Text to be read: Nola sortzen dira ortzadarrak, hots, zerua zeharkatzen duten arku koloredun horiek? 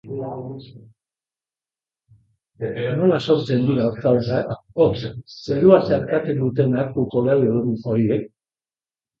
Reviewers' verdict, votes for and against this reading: rejected, 1, 2